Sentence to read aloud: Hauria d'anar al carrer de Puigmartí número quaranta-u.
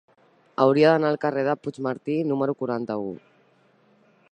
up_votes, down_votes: 2, 1